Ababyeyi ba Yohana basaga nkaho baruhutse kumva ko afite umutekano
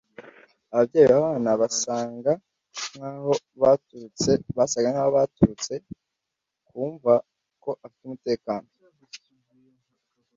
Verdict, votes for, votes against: rejected, 0, 2